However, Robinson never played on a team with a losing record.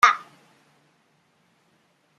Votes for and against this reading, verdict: 0, 2, rejected